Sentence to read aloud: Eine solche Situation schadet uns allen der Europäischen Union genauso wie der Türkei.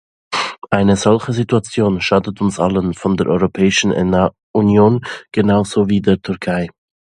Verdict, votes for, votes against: rejected, 0, 2